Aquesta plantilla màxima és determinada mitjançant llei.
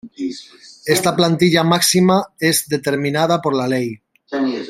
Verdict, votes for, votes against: rejected, 0, 2